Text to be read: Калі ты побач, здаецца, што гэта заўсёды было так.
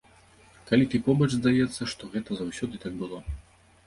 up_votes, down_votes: 0, 2